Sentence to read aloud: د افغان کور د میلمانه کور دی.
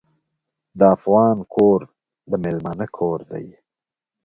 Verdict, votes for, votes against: accepted, 2, 0